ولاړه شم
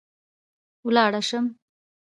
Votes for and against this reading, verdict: 2, 0, accepted